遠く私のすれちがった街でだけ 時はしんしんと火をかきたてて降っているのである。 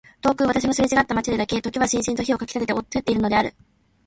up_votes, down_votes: 1, 2